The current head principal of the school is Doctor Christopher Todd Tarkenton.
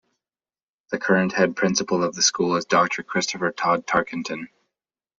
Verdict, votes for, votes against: accepted, 2, 0